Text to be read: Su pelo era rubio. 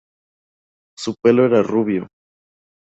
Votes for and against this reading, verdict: 2, 0, accepted